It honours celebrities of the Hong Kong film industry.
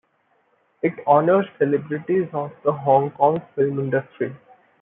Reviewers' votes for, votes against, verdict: 2, 1, accepted